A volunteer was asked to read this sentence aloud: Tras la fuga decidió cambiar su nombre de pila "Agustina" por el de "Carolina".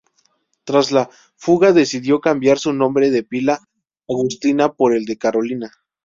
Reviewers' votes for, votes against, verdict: 0, 2, rejected